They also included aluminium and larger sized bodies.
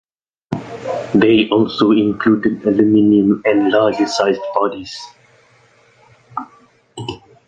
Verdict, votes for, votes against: accepted, 2, 0